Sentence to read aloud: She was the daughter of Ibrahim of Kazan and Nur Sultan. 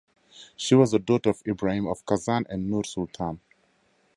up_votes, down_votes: 2, 0